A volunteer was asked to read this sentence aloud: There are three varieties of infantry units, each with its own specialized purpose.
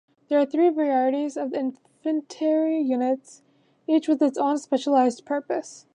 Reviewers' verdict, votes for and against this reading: rejected, 0, 2